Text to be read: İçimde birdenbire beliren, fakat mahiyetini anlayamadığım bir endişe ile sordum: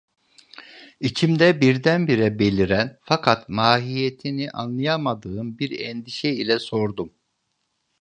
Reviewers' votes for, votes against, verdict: 2, 0, accepted